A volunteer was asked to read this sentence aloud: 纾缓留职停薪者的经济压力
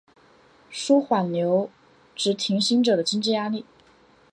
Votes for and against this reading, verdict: 2, 1, accepted